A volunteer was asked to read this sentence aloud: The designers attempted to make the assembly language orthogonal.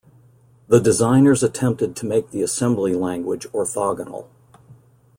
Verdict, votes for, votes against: accepted, 2, 0